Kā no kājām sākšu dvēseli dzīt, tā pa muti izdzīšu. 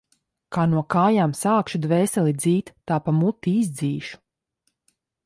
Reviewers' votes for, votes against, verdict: 2, 0, accepted